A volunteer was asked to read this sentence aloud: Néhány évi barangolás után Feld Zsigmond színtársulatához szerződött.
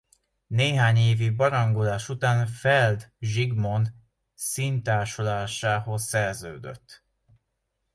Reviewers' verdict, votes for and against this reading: rejected, 0, 2